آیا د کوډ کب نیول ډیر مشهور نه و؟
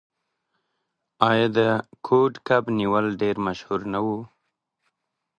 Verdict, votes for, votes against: rejected, 0, 2